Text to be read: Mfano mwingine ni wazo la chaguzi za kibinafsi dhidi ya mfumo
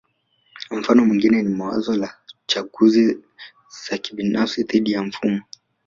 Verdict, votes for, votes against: accepted, 2, 1